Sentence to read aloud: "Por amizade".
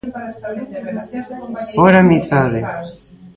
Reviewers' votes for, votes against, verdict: 0, 2, rejected